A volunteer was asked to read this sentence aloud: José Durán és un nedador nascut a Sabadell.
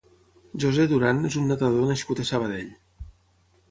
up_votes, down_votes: 0, 6